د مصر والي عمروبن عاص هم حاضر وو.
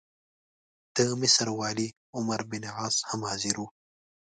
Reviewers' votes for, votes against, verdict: 2, 1, accepted